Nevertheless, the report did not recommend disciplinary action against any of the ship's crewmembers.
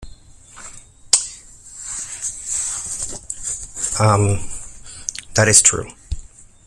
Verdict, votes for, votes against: rejected, 0, 3